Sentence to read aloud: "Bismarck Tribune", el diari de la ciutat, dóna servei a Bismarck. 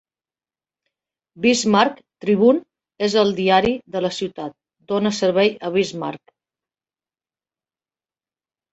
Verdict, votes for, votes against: rejected, 0, 2